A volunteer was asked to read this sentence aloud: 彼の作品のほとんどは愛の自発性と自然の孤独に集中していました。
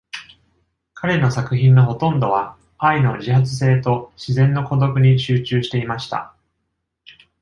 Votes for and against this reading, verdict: 2, 0, accepted